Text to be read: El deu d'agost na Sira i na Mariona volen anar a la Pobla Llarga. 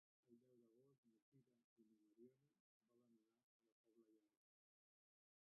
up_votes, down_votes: 1, 2